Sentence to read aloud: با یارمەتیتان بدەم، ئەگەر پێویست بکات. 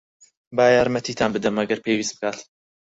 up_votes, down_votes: 4, 0